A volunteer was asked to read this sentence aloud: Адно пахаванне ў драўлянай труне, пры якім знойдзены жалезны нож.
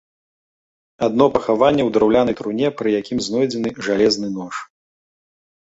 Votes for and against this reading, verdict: 2, 0, accepted